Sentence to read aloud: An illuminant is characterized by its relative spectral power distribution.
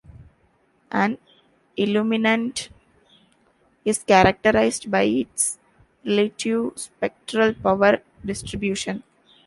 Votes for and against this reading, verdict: 0, 2, rejected